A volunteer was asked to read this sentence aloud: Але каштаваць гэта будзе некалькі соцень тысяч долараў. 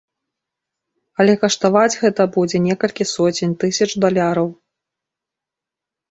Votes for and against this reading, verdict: 1, 2, rejected